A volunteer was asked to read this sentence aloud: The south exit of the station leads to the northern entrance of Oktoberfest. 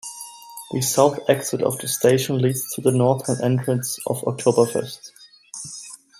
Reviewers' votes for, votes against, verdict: 2, 0, accepted